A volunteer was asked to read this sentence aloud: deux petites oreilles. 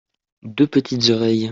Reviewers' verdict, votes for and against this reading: accepted, 2, 0